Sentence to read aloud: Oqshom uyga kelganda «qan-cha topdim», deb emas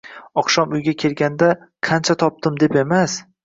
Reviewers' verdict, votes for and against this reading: accepted, 2, 0